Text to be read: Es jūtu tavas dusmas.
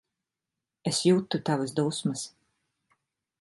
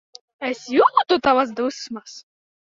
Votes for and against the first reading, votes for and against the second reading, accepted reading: 0, 2, 2, 0, second